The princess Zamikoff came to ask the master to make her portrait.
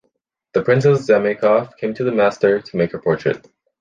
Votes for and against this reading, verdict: 1, 2, rejected